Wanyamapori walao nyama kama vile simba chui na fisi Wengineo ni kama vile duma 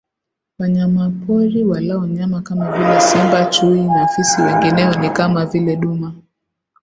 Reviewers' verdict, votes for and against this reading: accepted, 2, 0